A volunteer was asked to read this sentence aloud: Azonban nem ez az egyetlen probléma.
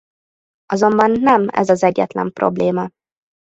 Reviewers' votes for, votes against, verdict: 2, 0, accepted